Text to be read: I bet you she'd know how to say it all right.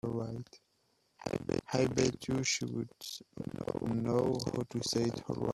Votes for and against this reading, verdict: 0, 2, rejected